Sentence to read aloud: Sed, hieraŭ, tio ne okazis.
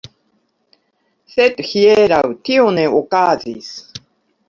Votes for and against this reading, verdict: 1, 2, rejected